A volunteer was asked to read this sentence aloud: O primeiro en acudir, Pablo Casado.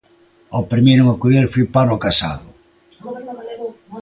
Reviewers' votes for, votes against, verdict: 0, 2, rejected